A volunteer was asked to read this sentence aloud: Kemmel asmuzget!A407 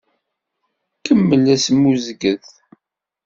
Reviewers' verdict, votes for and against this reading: rejected, 0, 2